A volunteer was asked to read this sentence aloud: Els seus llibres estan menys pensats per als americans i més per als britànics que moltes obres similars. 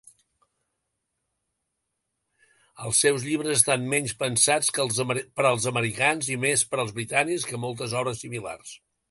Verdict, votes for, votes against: rejected, 0, 2